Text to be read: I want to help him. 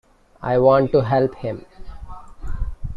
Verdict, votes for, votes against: accepted, 2, 1